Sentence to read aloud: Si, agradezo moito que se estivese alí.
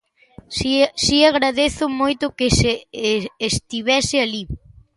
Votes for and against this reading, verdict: 0, 2, rejected